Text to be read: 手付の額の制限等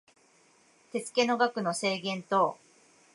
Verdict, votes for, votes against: accepted, 2, 0